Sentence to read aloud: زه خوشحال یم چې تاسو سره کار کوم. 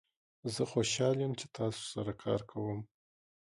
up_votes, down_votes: 1, 2